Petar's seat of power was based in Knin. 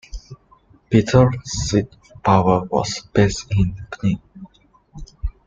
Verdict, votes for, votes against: rejected, 1, 2